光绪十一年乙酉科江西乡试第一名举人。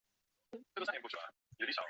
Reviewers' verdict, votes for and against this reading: rejected, 0, 4